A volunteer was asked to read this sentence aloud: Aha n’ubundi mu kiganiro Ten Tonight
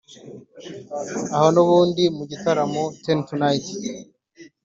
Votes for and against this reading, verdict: 1, 2, rejected